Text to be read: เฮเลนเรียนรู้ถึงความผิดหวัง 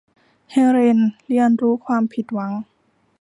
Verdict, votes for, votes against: rejected, 0, 2